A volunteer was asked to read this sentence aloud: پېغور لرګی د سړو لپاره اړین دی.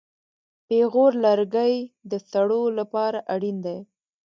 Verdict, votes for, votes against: accepted, 2, 0